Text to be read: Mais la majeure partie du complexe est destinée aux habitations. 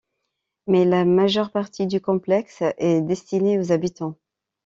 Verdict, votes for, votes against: rejected, 0, 2